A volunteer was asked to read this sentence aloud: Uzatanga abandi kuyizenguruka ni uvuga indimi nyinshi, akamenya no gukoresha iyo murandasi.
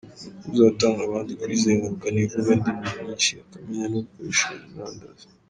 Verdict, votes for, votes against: accepted, 3, 2